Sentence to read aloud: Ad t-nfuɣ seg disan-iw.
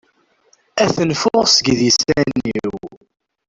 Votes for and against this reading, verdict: 0, 2, rejected